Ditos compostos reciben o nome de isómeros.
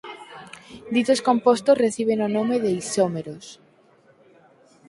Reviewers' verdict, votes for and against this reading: accepted, 4, 0